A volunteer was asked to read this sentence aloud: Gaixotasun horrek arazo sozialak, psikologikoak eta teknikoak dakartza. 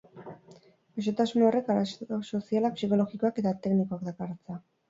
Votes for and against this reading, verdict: 2, 2, rejected